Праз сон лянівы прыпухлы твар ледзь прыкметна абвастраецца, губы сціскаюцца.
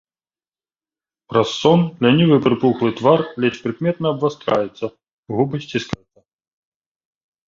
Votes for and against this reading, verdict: 0, 2, rejected